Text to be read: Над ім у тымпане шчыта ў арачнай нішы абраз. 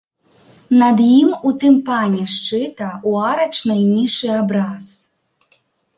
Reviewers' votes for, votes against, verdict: 0, 2, rejected